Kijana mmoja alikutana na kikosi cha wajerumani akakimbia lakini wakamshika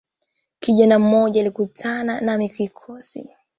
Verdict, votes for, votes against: rejected, 1, 2